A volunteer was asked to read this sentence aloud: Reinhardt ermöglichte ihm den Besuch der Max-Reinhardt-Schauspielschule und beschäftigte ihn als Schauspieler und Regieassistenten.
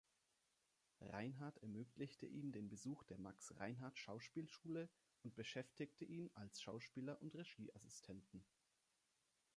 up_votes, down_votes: 2, 1